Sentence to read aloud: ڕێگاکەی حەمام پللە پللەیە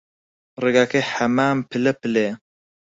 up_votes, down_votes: 4, 0